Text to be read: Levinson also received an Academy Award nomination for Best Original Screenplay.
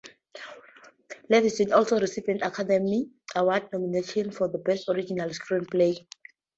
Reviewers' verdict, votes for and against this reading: accepted, 2, 0